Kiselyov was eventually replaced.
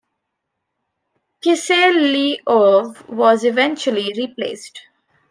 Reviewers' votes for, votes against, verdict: 1, 2, rejected